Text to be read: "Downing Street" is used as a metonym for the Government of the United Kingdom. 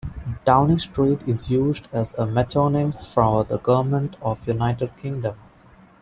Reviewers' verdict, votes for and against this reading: rejected, 1, 2